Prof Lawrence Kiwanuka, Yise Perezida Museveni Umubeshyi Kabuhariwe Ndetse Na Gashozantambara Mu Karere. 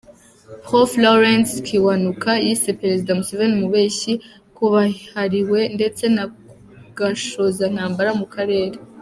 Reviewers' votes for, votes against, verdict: 2, 1, accepted